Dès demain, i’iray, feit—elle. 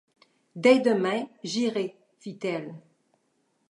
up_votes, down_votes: 1, 2